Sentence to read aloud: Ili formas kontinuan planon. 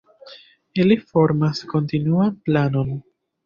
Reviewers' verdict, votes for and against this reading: accepted, 2, 0